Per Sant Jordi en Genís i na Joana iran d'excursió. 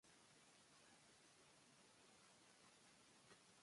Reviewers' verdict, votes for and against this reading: rejected, 0, 2